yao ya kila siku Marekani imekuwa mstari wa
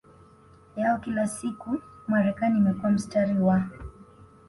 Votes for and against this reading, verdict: 2, 0, accepted